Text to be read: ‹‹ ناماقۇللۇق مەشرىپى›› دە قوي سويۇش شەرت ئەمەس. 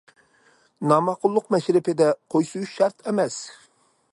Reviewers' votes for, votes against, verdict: 1, 2, rejected